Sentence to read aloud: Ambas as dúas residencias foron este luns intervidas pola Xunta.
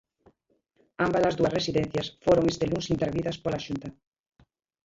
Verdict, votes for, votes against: rejected, 0, 2